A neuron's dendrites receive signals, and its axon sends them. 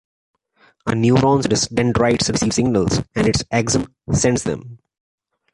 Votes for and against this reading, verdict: 2, 1, accepted